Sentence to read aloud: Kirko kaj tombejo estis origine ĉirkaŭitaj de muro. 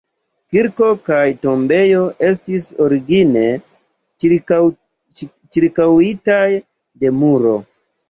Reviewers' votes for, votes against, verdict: 1, 2, rejected